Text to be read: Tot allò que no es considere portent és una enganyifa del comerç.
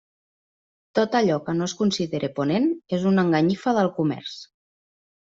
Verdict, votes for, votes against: rejected, 1, 2